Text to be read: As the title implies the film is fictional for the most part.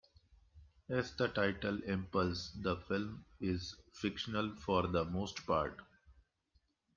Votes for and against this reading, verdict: 1, 2, rejected